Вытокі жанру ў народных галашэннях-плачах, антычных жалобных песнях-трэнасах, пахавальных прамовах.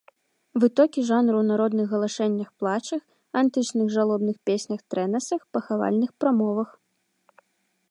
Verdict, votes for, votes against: accepted, 2, 1